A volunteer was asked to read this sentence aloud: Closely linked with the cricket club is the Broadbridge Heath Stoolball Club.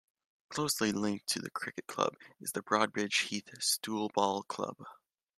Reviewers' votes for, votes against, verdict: 1, 2, rejected